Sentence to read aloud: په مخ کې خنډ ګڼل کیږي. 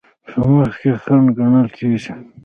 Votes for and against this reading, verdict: 2, 0, accepted